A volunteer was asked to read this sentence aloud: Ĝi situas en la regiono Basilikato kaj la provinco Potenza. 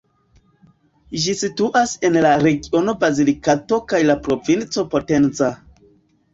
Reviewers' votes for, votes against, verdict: 0, 2, rejected